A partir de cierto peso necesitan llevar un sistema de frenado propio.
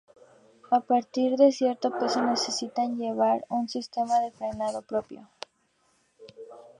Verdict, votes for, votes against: rejected, 0, 2